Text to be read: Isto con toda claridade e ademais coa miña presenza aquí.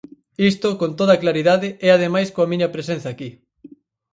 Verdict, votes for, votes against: accepted, 4, 0